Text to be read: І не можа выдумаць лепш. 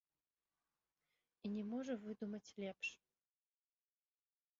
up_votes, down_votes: 1, 2